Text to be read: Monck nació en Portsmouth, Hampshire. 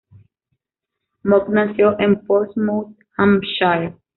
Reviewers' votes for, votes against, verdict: 2, 0, accepted